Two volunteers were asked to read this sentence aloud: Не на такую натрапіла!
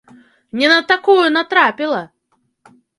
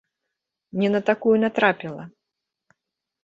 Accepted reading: first